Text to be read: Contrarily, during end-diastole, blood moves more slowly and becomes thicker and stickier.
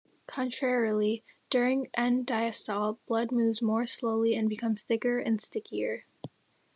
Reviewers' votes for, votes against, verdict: 2, 0, accepted